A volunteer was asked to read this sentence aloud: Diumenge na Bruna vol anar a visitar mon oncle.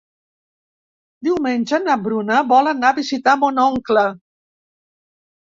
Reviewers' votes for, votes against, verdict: 4, 0, accepted